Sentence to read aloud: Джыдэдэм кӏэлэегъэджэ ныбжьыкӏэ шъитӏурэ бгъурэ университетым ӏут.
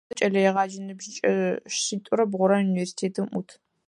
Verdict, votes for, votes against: rejected, 0, 4